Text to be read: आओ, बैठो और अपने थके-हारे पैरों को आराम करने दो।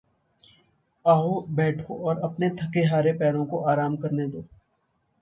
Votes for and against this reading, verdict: 1, 2, rejected